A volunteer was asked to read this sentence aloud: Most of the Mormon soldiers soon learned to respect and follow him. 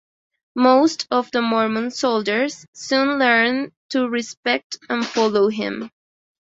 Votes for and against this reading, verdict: 2, 0, accepted